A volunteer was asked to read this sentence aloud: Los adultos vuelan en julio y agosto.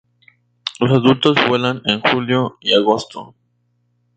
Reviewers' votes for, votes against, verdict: 2, 0, accepted